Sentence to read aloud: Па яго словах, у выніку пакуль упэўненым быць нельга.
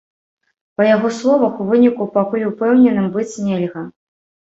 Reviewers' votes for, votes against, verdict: 2, 0, accepted